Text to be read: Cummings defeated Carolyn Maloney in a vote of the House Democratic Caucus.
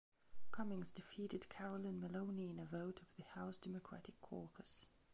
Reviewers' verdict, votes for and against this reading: rejected, 0, 2